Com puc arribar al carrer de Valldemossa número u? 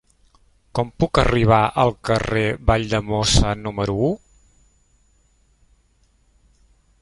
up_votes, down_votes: 0, 2